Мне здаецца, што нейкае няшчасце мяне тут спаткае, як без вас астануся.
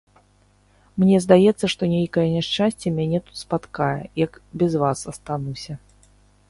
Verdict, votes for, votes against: rejected, 0, 2